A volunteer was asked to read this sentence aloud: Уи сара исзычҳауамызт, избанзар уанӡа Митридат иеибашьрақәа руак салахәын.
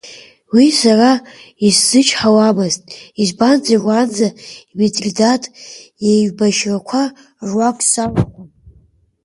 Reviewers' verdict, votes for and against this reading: rejected, 1, 2